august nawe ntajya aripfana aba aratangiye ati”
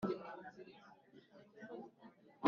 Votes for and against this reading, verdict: 0, 2, rejected